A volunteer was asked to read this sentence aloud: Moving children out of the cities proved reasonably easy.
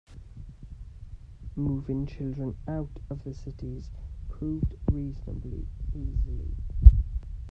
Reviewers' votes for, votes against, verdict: 1, 2, rejected